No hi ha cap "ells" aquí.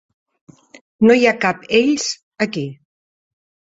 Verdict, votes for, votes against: accepted, 3, 0